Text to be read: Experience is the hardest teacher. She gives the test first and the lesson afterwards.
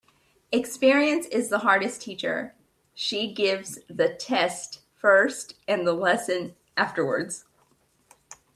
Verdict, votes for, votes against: accepted, 2, 0